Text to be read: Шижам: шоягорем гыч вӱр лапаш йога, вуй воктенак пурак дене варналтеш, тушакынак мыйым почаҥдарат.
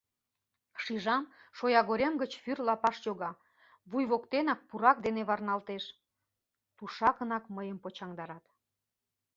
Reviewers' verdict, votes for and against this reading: accepted, 3, 0